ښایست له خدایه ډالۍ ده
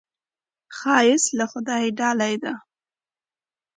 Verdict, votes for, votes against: accepted, 2, 0